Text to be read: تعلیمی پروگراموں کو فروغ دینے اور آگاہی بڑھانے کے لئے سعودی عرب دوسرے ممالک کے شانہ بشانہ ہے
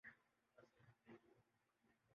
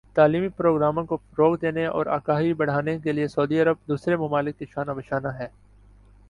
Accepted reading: second